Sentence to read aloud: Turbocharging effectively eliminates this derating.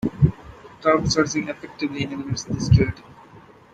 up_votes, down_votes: 0, 2